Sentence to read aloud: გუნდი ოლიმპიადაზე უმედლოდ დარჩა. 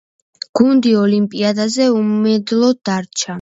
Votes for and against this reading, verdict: 2, 0, accepted